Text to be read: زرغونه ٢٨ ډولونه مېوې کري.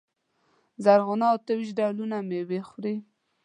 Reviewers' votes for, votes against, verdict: 0, 2, rejected